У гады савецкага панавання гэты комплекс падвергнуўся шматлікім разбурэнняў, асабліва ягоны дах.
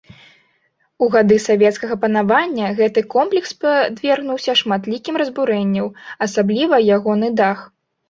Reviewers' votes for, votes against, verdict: 0, 2, rejected